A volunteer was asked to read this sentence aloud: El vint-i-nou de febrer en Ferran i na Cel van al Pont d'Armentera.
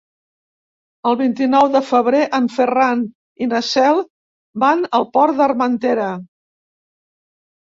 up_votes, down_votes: 1, 2